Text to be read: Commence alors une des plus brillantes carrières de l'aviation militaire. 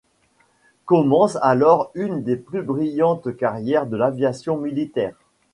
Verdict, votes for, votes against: rejected, 1, 2